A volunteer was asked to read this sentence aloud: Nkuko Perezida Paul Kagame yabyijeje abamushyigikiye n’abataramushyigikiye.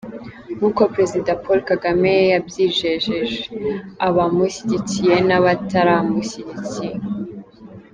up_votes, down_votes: 2, 0